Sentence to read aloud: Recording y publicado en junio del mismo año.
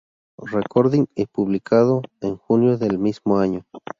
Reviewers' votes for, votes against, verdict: 2, 0, accepted